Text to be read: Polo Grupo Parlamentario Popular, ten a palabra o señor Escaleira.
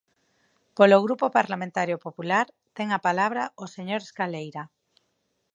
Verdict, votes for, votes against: accepted, 4, 0